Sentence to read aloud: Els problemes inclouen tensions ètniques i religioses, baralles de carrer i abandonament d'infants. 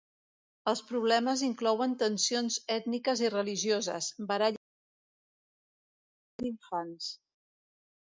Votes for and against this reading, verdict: 0, 2, rejected